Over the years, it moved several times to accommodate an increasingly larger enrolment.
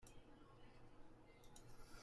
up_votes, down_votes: 0, 2